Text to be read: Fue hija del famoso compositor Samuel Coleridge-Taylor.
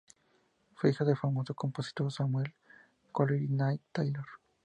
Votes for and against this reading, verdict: 2, 0, accepted